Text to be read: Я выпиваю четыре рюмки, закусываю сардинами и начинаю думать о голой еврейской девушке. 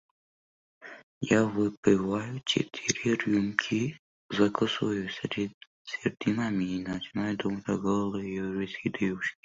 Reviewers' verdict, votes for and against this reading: rejected, 1, 2